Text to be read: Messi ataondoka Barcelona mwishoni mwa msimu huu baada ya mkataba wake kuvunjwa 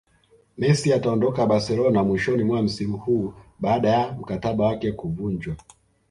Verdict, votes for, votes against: accepted, 2, 0